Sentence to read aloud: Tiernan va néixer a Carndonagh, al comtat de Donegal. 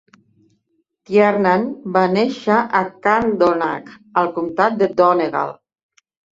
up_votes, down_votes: 2, 0